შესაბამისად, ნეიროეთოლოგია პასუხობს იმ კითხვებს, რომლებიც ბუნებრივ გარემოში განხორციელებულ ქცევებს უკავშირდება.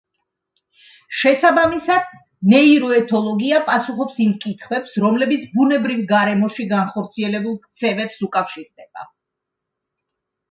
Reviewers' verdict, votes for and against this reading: accepted, 2, 0